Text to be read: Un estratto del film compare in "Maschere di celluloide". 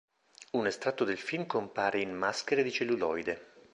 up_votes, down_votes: 3, 0